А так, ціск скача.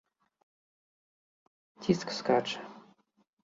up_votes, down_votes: 0, 2